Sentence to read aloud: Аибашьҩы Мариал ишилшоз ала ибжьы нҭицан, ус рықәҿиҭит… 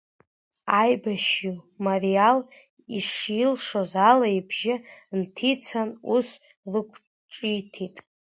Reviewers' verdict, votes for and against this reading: accepted, 2, 1